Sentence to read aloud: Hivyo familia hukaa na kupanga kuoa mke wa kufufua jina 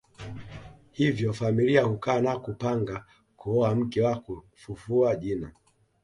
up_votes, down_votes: 2, 0